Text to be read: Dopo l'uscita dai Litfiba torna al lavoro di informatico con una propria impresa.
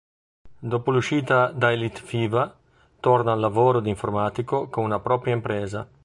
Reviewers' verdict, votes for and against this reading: rejected, 0, 2